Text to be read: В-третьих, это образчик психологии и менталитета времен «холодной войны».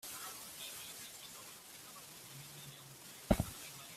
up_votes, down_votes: 0, 2